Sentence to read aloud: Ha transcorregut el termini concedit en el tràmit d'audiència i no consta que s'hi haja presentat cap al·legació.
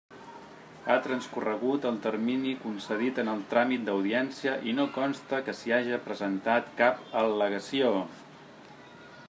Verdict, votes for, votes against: accepted, 3, 0